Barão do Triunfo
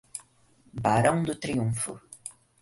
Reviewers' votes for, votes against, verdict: 4, 0, accepted